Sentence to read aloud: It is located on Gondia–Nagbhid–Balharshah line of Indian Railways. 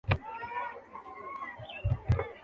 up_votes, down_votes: 0, 2